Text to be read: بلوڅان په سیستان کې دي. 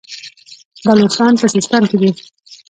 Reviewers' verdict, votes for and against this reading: rejected, 1, 2